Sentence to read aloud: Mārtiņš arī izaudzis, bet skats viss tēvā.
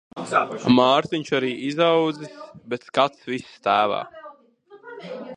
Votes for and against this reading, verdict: 0, 2, rejected